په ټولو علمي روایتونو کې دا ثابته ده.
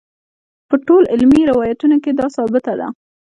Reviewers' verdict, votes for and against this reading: accepted, 3, 0